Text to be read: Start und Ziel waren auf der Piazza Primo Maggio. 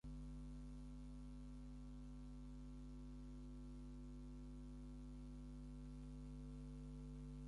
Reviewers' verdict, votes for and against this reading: rejected, 0, 6